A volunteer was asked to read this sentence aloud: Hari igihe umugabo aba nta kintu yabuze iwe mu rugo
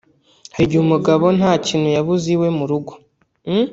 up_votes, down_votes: 1, 2